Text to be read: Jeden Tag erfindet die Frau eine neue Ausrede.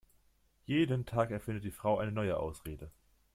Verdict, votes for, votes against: accepted, 2, 0